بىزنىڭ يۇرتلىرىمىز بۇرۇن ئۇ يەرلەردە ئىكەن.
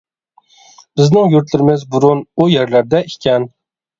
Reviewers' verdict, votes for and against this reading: accepted, 2, 0